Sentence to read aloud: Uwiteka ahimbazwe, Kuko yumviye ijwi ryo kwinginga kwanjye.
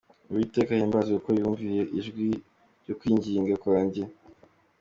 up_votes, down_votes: 2, 0